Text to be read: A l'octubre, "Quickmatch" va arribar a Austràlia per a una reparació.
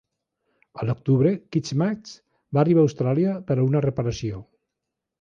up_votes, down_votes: 1, 2